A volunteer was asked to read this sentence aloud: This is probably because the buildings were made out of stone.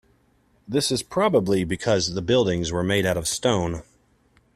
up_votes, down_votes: 2, 0